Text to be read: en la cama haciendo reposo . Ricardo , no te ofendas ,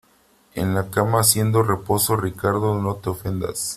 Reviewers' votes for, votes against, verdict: 2, 3, rejected